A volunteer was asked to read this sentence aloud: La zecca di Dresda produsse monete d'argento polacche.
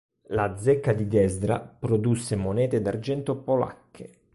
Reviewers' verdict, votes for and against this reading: rejected, 0, 2